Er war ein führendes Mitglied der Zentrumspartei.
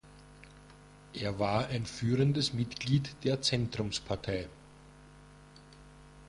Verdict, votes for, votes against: accepted, 2, 0